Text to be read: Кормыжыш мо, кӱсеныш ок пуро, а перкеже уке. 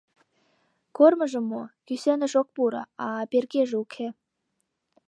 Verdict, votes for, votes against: rejected, 0, 2